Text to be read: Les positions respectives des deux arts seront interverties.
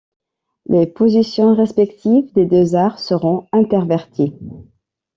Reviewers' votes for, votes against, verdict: 2, 0, accepted